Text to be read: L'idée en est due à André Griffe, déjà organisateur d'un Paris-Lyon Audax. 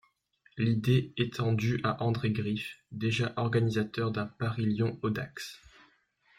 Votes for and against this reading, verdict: 0, 2, rejected